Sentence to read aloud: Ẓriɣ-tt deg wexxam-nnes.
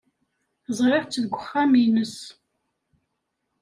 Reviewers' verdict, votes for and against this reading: rejected, 1, 2